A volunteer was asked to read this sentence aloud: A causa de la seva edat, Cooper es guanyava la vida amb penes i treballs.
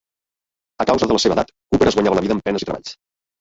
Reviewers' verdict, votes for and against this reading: rejected, 1, 2